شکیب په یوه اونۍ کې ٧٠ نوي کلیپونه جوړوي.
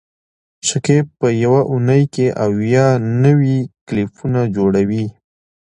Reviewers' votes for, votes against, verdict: 0, 2, rejected